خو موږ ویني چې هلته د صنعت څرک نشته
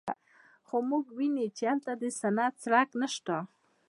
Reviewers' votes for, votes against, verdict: 1, 2, rejected